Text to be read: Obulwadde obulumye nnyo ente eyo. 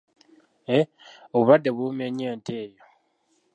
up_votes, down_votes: 1, 2